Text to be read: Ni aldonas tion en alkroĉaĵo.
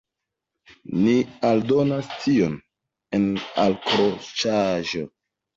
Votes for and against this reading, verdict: 2, 1, accepted